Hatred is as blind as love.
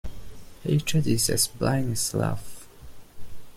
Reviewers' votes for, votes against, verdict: 2, 0, accepted